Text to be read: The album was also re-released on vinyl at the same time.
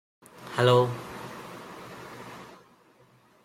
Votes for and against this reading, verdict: 0, 2, rejected